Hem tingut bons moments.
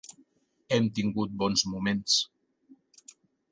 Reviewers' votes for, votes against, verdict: 3, 0, accepted